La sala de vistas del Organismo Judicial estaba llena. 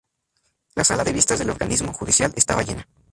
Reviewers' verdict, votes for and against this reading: accepted, 2, 0